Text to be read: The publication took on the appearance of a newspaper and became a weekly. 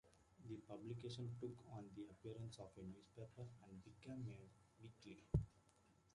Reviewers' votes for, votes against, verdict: 2, 0, accepted